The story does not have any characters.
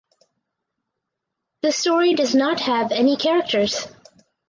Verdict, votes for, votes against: accepted, 4, 0